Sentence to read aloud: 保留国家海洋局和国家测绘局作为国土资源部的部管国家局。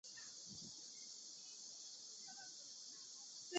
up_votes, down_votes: 0, 2